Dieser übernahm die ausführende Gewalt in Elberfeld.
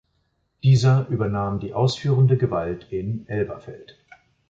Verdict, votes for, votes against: accepted, 2, 0